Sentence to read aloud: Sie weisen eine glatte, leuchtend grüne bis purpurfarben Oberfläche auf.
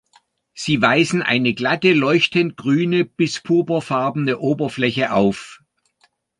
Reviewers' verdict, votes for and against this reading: accepted, 2, 1